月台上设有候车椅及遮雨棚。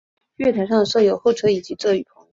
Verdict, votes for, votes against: accepted, 2, 0